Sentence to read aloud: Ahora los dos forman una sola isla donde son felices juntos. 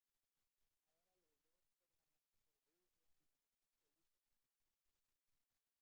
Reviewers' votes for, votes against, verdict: 0, 2, rejected